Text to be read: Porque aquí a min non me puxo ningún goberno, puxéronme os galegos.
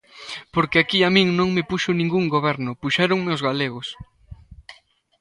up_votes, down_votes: 2, 0